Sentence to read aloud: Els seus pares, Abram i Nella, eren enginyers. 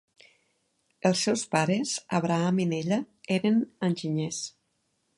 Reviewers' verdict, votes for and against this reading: accepted, 2, 0